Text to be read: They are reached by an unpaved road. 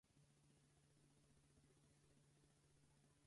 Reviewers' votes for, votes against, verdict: 0, 4, rejected